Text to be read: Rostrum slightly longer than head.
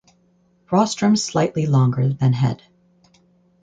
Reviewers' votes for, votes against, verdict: 4, 0, accepted